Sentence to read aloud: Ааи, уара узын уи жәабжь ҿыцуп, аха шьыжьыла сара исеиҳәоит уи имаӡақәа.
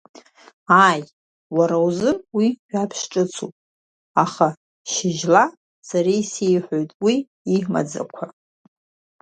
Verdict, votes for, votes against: rejected, 0, 2